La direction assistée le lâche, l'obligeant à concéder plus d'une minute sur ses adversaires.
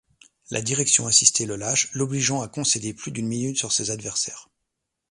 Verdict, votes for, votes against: accepted, 2, 0